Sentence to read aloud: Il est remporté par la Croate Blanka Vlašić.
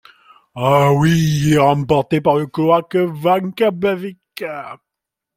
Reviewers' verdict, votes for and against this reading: rejected, 0, 2